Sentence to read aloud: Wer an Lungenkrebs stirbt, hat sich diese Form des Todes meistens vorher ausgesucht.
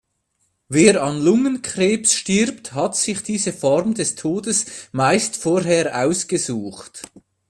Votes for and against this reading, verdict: 0, 2, rejected